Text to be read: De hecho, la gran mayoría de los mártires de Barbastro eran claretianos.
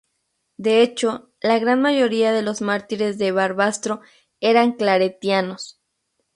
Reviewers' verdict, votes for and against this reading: accepted, 2, 0